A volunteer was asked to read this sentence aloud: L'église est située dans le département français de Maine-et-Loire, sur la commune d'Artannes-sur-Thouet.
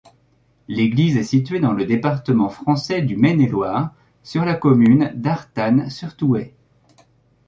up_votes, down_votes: 0, 2